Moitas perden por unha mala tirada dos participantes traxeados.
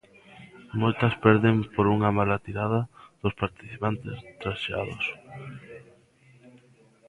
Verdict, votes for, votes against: rejected, 1, 2